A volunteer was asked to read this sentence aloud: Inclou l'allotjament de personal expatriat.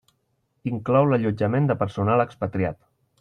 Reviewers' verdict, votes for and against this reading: accepted, 3, 0